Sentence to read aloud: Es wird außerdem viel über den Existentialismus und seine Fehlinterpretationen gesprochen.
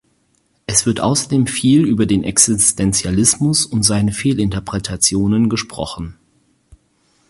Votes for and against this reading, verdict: 2, 4, rejected